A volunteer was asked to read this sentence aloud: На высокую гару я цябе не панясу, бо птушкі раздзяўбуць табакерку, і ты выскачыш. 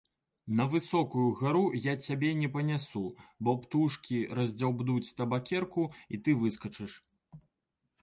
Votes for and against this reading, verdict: 1, 2, rejected